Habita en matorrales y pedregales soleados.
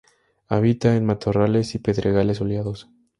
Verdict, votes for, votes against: accepted, 2, 0